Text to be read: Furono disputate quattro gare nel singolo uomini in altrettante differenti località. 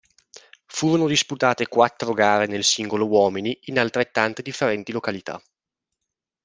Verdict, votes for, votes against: accepted, 2, 0